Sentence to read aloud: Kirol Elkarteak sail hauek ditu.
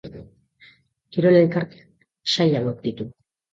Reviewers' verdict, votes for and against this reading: rejected, 1, 2